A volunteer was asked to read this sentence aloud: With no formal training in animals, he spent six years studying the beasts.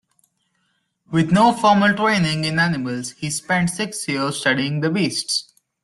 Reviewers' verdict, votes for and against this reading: accepted, 2, 0